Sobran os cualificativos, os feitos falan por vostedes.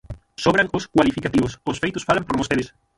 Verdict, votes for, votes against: rejected, 3, 6